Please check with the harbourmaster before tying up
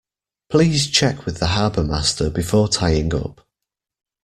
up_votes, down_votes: 2, 0